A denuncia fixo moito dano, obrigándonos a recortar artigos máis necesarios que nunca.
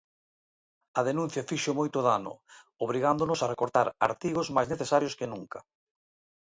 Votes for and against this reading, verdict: 2, 0, accepted